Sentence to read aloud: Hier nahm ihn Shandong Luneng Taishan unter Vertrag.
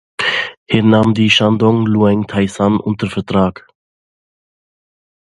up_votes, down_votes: 0, 2